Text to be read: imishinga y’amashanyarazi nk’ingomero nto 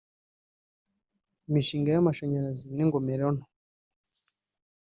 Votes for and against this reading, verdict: 1, 2, rejected